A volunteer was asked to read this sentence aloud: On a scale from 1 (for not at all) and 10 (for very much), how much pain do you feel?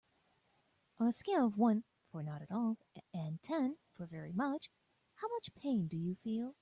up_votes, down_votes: 0, 2